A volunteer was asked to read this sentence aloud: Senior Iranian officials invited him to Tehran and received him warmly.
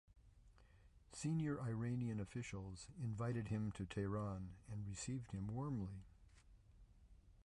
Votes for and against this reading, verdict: 0, 2, rejected